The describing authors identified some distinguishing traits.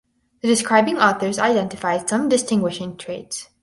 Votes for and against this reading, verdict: 2, 2, rejected